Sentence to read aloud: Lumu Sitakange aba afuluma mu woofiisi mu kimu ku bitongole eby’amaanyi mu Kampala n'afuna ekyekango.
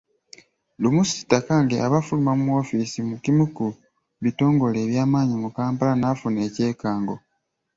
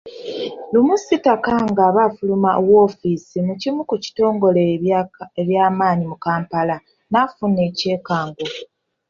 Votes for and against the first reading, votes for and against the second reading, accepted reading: 3, 0, 1, 2, first